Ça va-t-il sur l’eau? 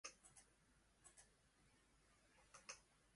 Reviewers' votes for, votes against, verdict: 0, 2, rejected